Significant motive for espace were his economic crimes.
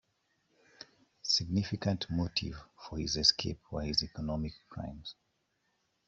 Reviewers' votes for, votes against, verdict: 0, 2, rejected